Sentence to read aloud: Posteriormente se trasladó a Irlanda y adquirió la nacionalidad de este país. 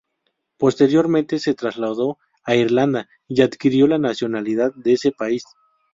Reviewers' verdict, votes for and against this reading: accepted, 2, 0